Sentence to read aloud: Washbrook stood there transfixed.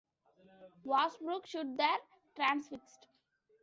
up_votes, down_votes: 1, 2